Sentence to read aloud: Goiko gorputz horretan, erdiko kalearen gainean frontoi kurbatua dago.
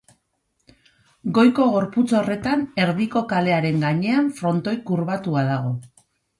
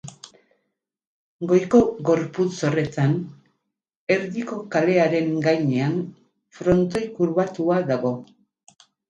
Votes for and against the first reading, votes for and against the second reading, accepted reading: 2, 0, 2, 2, first